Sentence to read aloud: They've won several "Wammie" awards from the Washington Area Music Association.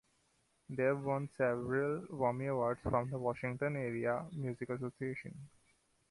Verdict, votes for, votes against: accepted, 2, 0